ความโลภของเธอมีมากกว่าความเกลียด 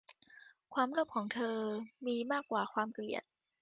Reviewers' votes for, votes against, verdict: 2, 0, accepted